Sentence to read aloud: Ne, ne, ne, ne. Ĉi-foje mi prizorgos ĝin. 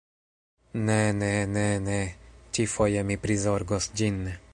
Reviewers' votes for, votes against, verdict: 2, 1, accepted